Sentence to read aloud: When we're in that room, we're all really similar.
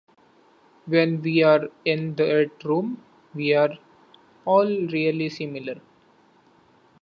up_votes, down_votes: 0, 2